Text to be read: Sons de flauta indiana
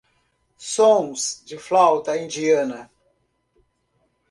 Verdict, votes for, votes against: accepted, 2, 0